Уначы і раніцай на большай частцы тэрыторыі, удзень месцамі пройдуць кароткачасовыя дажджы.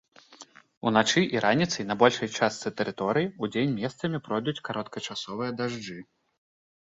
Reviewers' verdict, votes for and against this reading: accepted, 2, 0